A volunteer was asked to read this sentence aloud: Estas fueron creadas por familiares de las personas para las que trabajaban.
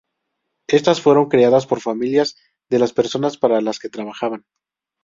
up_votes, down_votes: 0, 2